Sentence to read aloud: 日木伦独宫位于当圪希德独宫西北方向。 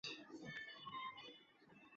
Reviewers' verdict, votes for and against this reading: rejected, 1, 3